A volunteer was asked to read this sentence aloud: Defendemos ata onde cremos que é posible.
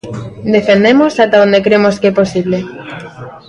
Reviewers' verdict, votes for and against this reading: accepted, 2, 0